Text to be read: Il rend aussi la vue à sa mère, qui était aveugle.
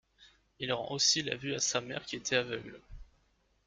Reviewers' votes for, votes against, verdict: 0, 2, rejected